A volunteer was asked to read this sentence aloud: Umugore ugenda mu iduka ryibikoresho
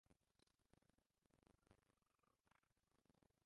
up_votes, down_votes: 0, 2